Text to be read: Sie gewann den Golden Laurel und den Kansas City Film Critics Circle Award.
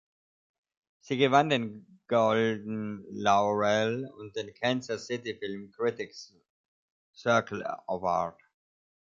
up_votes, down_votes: 1, 2